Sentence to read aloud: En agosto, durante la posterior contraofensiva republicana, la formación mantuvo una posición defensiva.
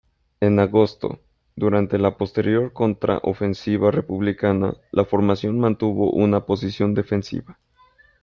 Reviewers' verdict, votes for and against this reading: rejected, 1, 2